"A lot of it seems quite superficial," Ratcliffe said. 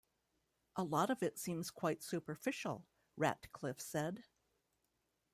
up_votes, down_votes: 1, 2